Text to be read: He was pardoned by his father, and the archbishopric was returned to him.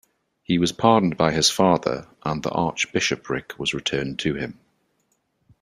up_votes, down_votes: 2, 0